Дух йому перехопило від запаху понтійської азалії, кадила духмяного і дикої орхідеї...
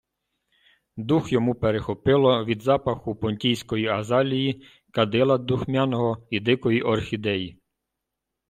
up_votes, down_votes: 2, 0